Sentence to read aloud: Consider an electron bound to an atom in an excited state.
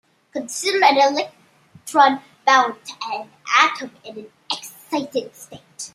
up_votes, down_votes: 0, 2